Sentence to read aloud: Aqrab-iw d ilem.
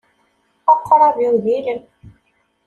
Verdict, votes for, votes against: accepted, 2, 0